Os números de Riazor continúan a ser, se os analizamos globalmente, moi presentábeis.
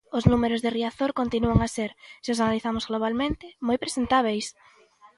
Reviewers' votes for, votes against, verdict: 2, 0, accepted